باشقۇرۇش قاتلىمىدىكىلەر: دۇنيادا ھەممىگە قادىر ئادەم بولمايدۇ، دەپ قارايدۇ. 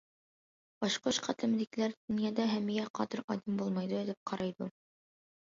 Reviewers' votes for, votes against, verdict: 0, 2, rejected